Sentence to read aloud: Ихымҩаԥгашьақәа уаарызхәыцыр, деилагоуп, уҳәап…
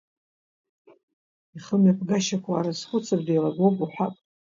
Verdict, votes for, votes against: accepted, 2, 0